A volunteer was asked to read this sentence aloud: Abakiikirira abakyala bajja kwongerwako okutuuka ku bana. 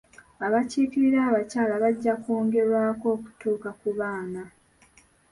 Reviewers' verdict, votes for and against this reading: rejected, 0, 2